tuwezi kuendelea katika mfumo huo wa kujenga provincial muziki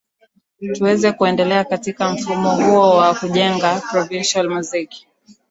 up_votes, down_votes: 1, 2